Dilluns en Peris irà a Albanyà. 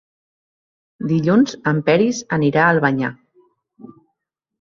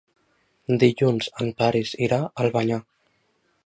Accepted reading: second